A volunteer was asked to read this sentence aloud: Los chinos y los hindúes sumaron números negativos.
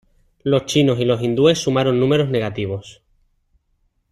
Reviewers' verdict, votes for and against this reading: rejected, 1, 2